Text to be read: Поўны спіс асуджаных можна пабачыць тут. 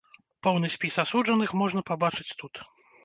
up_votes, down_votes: 2, 0